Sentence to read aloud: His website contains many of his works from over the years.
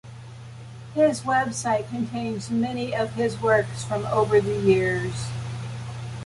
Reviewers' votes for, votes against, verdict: 2, 0, accepted